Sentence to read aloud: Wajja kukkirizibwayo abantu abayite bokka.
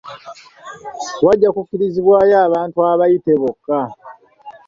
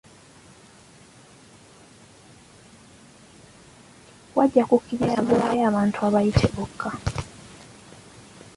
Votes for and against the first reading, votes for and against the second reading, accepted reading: 3, 0, 1, 2, first